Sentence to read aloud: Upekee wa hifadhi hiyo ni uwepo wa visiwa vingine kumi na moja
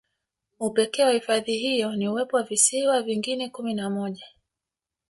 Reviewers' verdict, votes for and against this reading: accepted, 2, 0